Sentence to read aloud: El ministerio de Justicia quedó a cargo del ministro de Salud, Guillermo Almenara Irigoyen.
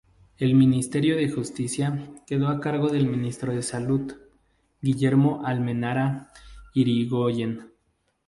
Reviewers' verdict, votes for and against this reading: rejected, 2, 2